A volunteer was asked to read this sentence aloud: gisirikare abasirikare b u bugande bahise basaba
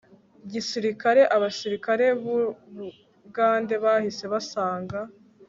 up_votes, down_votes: 2, 3